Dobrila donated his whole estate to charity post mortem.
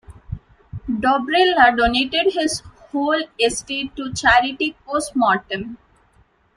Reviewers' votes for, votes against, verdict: 2, 1, accepted